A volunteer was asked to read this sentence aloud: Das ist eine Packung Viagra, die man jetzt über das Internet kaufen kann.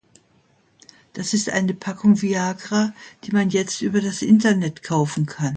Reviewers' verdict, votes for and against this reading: accepted, 2, 0